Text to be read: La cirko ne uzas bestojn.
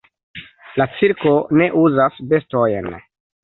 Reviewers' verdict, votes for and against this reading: accepted, 2, 0